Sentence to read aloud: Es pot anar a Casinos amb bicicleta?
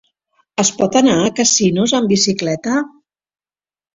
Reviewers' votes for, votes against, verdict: 3, 0, accepted